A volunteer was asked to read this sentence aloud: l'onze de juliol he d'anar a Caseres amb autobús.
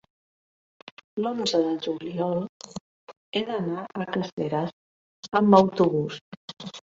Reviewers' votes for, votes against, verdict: 1, 2, rejected